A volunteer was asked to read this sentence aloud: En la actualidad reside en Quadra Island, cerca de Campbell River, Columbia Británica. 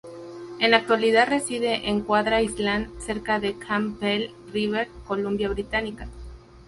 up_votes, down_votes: 2, 2